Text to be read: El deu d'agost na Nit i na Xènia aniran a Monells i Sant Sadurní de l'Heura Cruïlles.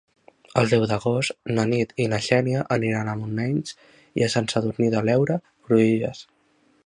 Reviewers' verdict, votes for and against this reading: rejected, 1, 2